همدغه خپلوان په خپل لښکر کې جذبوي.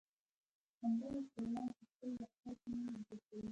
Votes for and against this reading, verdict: 0, 2, rejected